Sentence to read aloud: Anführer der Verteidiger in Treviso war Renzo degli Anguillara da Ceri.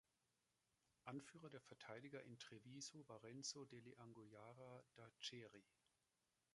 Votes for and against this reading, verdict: 1, 2, rejected